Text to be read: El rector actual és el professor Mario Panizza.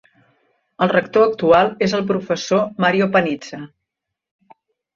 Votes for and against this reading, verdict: 2, 0, accepted